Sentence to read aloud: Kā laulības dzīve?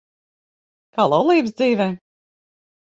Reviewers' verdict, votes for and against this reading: rejected, 3, 6